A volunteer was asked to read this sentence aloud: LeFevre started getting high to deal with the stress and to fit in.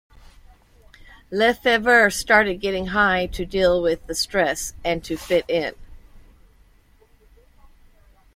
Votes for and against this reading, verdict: 2, 0, accepted